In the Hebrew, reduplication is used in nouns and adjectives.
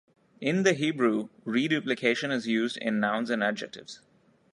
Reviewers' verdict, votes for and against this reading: accepted, 2, 0